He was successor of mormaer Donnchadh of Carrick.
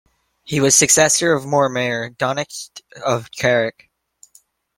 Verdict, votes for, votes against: rejected, 0, 2